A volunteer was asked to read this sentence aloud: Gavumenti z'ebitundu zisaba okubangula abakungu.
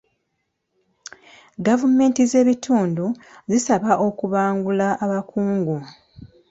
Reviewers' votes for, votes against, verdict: 2, 0, accepted